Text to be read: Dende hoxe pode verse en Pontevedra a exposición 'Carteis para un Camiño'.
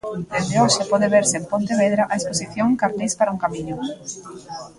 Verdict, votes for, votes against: rejected, 0, 2